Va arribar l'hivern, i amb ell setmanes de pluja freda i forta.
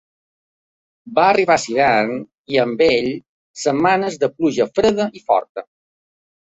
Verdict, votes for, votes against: rejected, 0, 2